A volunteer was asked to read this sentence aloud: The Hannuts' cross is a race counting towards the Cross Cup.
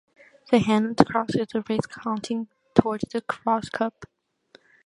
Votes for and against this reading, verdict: 1, 2, rejected